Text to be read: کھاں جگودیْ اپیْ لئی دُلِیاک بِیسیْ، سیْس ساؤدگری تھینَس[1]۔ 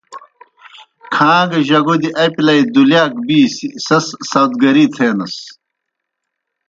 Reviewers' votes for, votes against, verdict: 0, 2, rejected